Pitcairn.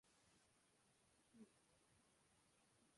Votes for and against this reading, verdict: 0, 2, rejected